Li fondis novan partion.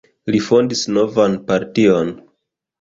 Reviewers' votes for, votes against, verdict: 3, 1, accepted